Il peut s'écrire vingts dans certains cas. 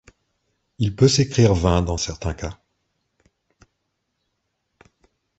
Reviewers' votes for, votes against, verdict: 2, 0, accepted